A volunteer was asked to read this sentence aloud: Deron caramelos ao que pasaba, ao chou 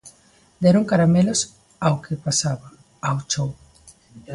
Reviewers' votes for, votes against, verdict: 2, 0, accepted